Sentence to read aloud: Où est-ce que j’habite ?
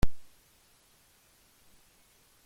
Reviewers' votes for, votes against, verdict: 0, 2, rejected